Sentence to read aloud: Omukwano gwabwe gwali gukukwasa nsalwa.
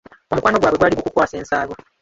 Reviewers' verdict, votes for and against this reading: rejected, 1, 2